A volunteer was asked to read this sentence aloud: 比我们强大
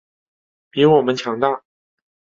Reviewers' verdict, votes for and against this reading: accepted, 2, 1